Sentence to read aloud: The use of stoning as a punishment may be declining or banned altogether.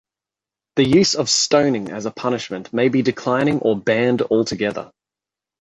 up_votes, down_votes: 2, 0